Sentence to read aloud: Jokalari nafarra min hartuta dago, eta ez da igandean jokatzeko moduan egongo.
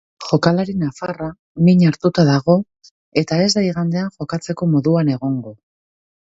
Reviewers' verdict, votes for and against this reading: accepted, 3, 0